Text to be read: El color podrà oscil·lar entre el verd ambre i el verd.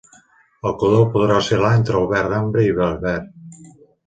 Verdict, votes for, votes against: rejected, 1, 2